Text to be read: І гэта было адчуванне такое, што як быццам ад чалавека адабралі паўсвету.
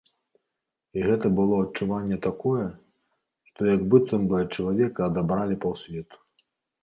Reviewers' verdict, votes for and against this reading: rejected, 0, 2